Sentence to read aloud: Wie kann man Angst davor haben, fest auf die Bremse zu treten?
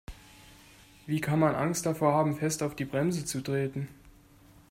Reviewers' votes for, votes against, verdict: 2, 0, accepted